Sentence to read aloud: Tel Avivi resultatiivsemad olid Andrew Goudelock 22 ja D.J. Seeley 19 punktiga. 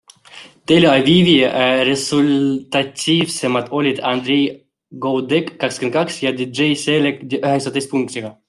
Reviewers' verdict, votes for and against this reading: rejected, 0, 2